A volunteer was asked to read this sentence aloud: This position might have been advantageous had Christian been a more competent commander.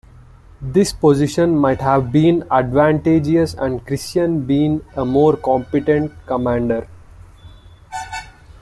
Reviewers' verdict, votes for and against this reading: rejected, 1, 2